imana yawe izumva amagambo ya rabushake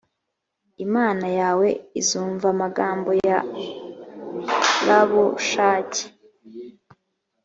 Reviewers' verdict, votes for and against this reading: rejected, 1, 2